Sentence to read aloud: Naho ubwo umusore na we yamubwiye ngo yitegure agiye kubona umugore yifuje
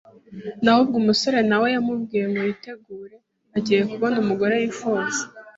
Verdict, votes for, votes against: rejected, 1, 2